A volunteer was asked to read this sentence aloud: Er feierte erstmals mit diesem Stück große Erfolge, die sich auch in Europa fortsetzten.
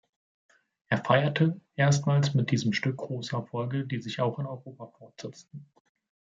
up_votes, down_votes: 2, 0